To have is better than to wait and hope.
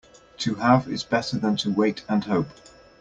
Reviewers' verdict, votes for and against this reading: accepted, 2, 0